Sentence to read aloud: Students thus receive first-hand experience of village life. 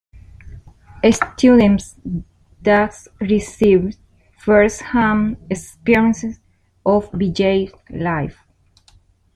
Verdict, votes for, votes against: rejected, 0, 2